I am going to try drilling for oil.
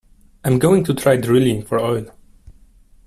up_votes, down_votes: 2, 0